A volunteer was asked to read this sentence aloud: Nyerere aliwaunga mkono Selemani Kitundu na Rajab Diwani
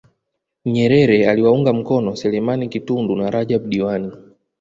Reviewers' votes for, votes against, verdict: 0, 2, rejected